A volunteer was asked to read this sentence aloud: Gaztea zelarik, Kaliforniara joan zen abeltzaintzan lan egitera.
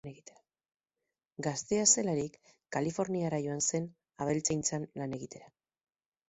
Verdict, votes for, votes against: accepted, 4, 0